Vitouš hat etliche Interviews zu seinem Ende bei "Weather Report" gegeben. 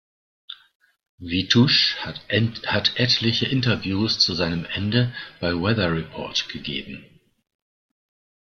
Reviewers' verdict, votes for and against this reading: rejected, 1, 2